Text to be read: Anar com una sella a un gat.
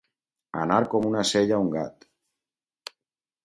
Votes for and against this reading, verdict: 4, 0, accepted